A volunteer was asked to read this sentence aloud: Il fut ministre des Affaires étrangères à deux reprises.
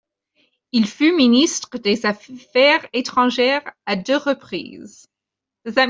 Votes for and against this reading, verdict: 0, 2, rejected